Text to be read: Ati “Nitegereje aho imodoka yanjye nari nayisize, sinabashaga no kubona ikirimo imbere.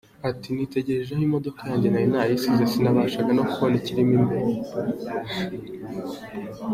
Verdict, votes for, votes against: accepted, 2, 0